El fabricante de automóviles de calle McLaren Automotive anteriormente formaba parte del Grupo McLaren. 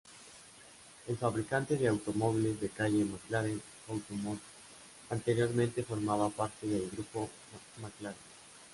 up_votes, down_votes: 1, 2